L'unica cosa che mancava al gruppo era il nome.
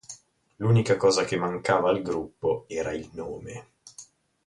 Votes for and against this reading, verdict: 2, 2, rejected